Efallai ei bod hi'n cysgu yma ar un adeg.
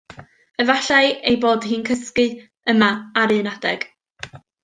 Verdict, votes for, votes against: accepted, 2, 0